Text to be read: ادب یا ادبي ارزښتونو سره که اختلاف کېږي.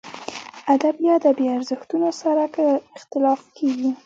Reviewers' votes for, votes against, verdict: 0, 2, rejected